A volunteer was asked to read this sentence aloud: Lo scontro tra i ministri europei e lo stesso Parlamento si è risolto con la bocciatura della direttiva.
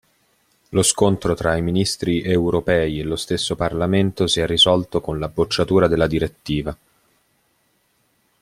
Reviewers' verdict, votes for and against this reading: accepted, 2, 0